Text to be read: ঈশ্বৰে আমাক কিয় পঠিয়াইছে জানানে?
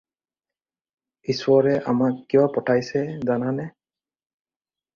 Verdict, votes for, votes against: rejected, 0, 4